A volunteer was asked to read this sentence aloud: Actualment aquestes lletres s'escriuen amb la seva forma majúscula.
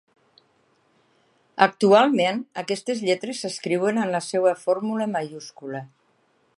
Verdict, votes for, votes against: rejected, 2, 3